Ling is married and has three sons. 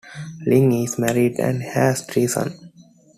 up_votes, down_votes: 2, 0